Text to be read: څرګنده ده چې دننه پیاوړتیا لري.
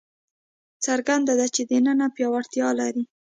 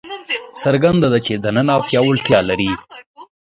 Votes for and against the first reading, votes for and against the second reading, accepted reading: 2, 0, 1, 2, first